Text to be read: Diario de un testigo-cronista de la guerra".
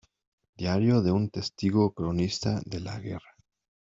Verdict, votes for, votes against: accepted, 2, 0